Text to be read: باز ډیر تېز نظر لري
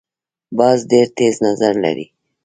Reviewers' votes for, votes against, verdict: 0, 2, rejected